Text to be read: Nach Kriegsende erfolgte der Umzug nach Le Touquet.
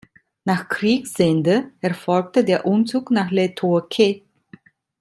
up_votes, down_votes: 2, 0